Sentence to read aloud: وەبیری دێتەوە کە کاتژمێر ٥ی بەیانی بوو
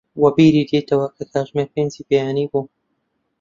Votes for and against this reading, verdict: 0, 2, rejected